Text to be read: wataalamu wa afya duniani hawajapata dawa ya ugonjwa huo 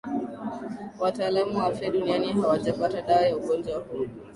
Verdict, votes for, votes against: accepted, 2, 0